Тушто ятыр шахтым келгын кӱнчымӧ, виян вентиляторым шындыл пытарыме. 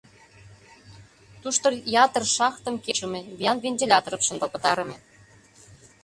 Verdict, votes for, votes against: rejected, 0, 2